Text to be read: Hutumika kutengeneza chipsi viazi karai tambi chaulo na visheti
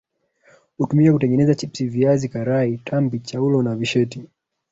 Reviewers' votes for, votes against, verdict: 3, 0, accepted